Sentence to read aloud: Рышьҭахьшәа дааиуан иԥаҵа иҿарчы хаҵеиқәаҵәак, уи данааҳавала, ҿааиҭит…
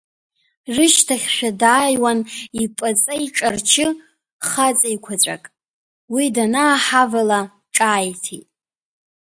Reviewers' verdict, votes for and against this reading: rejected, 0, 2